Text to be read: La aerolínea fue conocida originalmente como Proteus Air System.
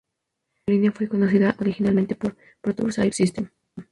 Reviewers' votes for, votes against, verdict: 2, 0, accepted